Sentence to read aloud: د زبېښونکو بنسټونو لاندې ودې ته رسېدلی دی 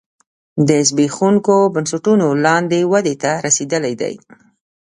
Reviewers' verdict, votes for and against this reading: accepted, 2, 0